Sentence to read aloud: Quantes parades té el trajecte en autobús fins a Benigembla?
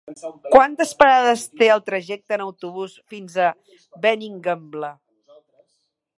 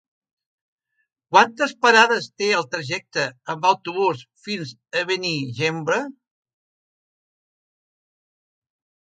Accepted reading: second